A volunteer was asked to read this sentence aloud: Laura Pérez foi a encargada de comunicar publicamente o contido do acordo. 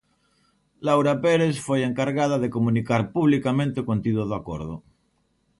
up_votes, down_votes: 2, 0